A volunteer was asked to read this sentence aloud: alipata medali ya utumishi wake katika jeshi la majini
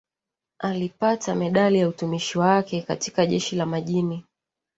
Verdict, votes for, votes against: accepted, 2, 0